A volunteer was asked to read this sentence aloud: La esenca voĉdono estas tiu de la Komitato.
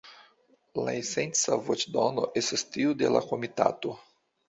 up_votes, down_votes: 1, 2